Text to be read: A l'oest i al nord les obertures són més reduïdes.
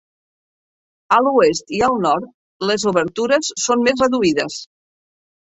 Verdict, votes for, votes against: accepted, 2, 0